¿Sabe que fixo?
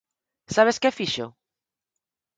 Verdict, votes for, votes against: rejected, 0, 4